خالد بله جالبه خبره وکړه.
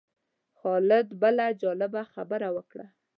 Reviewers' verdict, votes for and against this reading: accepted, 2, 0